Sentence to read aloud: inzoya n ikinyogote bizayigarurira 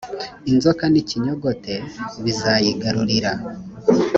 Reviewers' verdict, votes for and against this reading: rejected, 0, 2